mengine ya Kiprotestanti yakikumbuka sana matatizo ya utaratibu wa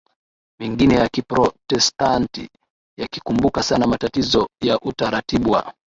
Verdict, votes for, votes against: accepted, 6, 1